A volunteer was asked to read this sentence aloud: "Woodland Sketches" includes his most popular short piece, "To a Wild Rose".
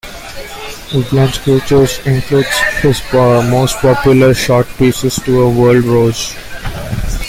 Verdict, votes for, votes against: rejected, 0, 2